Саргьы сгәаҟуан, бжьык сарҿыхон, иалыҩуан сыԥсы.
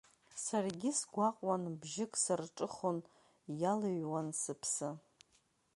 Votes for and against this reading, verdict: 2, 0, accepted